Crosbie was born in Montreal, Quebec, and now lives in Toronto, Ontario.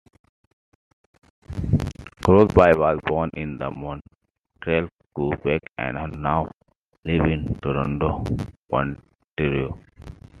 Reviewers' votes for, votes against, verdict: 1, 2, rejected